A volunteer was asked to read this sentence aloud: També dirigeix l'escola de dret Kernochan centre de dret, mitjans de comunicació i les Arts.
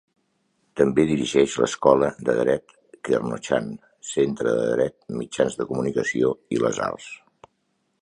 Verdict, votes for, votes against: accepted, 3, 0